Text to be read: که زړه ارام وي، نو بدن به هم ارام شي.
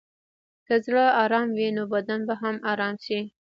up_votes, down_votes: 1, 2